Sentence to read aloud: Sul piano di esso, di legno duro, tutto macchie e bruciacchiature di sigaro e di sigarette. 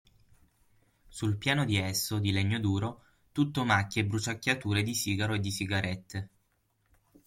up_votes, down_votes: 6, 0